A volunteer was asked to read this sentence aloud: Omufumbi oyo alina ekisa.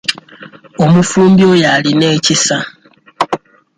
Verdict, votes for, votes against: accepted, 2, 0